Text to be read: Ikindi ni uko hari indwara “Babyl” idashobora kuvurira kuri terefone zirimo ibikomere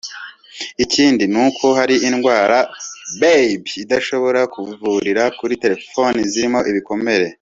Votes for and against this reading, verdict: 2, 0, accepted